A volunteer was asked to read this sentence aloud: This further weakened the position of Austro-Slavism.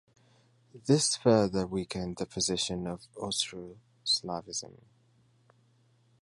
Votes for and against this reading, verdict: 3, 1, accepted